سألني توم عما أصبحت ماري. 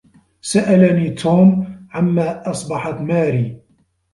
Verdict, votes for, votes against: accepted, 2, 0